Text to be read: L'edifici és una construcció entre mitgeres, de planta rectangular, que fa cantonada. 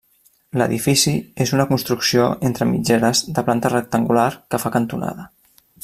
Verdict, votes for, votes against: accepted, 3, 0